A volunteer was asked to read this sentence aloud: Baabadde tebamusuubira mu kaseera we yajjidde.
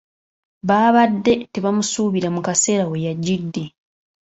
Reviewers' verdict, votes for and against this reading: accepted, 2, 1